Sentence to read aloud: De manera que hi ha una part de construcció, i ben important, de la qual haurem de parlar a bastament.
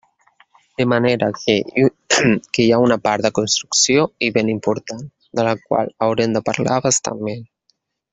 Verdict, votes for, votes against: rejected, 1, 2